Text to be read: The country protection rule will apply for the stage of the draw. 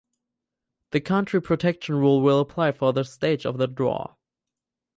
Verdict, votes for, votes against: rejected, 2, 2